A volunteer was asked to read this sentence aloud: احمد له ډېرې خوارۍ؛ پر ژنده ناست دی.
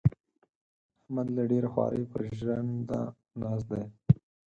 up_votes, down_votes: 4, 6